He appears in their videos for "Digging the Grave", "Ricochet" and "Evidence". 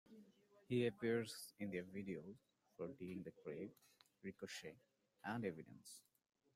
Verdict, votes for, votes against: rejected, 1, 2